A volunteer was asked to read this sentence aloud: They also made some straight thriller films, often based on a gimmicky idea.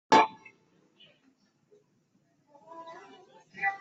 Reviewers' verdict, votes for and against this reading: rejected, 0, 2